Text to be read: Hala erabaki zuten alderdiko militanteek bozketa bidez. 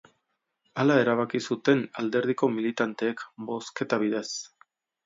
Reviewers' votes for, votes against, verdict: 2, 0, accepted